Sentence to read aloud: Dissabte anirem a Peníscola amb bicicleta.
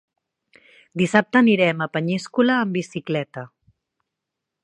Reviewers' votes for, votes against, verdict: 1, 3, rejected